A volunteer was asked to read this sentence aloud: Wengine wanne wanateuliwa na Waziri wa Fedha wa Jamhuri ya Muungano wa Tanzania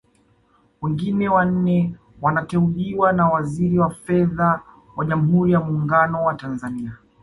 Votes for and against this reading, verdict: 2, 0, accepted